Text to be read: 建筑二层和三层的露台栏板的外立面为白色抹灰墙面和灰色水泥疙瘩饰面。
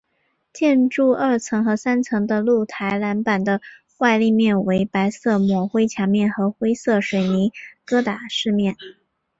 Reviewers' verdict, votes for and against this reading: accepted, 3, 0